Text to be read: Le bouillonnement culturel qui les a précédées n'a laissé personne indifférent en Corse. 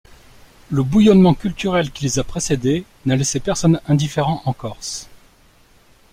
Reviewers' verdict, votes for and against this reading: accepted, 2, 0